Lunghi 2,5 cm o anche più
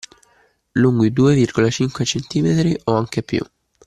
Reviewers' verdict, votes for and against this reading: rejected, 0, 2